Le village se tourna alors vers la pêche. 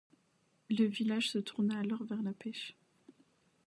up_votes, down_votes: 2, 0